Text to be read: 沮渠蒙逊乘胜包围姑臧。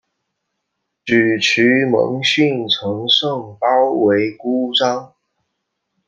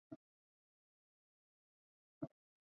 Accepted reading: first